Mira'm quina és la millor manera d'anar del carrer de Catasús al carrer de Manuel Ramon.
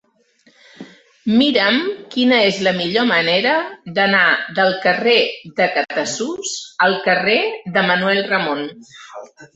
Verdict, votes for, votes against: accepted, 3, 0